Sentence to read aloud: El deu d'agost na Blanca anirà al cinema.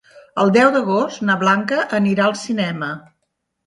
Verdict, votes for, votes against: accepted, 2, 0